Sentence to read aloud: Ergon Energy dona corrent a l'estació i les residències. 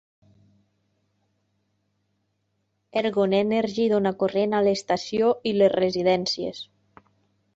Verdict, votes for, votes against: accepted, 4, 0